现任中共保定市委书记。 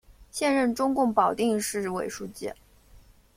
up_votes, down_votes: 2, 0